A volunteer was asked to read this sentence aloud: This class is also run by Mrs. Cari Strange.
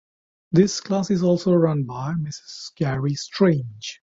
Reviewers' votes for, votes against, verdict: 2, 0, accepted